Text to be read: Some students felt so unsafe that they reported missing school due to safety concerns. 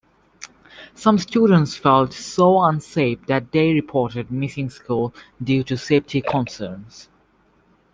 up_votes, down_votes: 2, 0